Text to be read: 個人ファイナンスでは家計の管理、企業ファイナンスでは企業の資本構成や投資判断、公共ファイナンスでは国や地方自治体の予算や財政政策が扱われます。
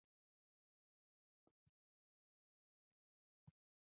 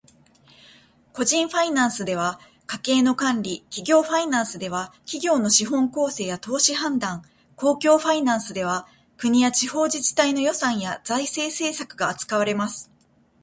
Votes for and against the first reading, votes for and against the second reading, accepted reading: 0, 2, 2, 1, second